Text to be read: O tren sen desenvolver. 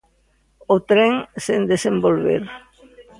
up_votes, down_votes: 0, 2